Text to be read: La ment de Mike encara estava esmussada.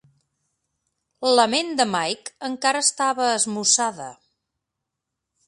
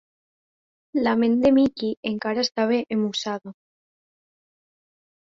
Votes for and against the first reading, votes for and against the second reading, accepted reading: 2, 0, 0, 2, first